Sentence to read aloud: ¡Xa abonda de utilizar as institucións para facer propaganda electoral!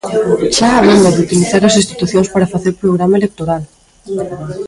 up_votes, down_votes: 1, 2